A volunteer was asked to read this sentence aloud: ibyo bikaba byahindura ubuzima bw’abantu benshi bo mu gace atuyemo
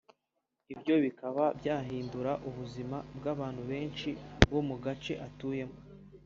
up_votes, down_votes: 2, 0